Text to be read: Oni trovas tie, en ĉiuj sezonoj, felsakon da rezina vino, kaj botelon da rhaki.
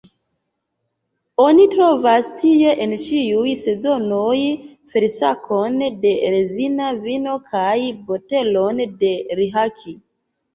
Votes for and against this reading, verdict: 0, 2, rejected